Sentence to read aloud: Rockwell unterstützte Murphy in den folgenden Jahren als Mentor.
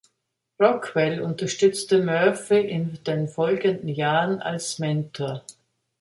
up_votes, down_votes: 2, 0